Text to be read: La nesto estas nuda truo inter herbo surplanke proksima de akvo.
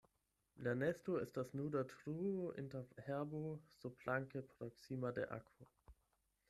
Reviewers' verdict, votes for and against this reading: accepted, 8, 0